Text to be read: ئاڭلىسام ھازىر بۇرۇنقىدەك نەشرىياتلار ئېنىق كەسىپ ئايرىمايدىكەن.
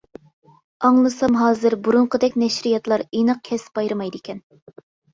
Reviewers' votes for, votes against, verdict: 2, 0, accepted